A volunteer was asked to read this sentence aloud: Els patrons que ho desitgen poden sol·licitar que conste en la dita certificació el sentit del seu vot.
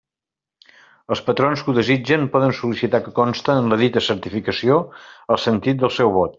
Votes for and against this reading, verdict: 2, 0, accepted